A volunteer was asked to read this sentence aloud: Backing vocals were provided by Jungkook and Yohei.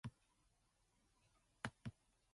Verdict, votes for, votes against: rejected, 0, 2